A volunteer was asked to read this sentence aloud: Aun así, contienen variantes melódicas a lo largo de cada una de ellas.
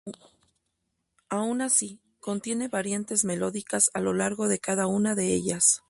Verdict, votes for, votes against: accepted, 2, 0